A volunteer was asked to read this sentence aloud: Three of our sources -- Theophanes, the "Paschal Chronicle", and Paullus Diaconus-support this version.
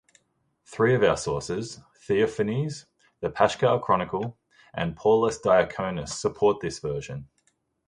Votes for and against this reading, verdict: 2, 0, accepted